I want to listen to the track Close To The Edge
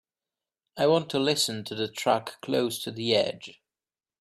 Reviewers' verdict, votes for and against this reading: accepted, 3, 0